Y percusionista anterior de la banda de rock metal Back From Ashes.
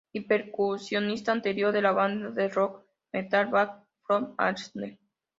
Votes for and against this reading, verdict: 0, 2, rejected